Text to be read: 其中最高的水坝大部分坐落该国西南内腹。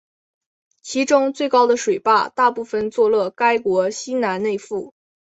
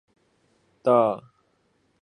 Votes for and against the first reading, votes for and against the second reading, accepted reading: 3, 0, 0, 6, first